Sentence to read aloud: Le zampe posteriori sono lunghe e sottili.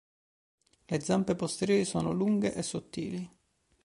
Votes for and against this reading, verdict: 2, 0, accepted